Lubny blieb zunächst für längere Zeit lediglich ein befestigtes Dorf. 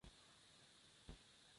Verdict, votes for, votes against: rejected, 0, 2